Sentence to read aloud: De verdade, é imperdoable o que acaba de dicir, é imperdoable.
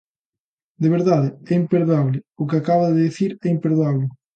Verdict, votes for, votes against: accepted, 2, 0